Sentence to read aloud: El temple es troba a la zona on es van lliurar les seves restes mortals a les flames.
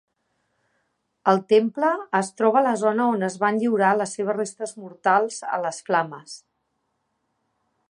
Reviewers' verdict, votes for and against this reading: accepted, 3, 1